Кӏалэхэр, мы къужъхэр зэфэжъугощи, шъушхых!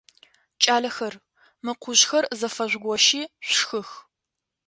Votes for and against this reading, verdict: 2, 0, accepted